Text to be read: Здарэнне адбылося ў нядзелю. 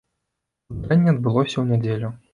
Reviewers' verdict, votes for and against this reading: rejected, 0, 2